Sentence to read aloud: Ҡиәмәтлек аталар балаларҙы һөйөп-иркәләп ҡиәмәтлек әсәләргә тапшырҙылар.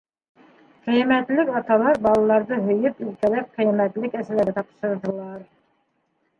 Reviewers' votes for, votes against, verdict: 2, 0, accepted